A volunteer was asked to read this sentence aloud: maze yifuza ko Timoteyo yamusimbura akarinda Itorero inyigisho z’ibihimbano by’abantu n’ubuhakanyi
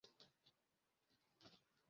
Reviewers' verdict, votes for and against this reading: rejected, 0, 2